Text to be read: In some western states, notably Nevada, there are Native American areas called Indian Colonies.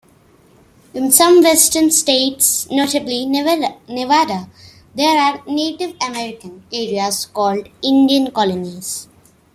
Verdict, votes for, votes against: rejected, 0, 2